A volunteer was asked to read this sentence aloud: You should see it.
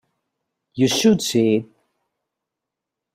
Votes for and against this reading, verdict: 1, 2, rejected